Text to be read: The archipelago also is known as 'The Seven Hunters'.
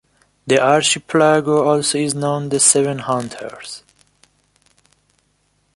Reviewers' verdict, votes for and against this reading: rejected, 1, 2